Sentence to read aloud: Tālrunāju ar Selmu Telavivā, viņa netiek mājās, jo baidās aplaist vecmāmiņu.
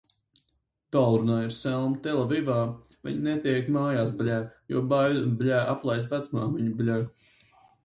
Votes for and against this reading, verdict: 0, 4, rejected